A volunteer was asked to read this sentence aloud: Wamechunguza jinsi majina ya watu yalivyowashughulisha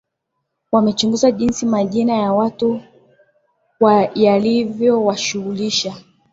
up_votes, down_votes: 11, 5